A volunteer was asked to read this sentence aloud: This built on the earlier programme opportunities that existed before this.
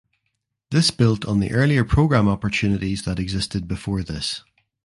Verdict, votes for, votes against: accepted, 2, 0